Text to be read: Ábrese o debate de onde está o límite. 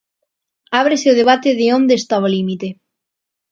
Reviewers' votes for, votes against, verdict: 2, 0, accepted